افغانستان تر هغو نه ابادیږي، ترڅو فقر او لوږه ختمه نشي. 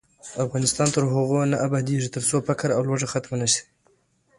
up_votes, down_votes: 2, 0